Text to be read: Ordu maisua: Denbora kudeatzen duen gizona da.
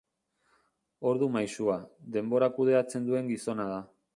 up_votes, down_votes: 2, 0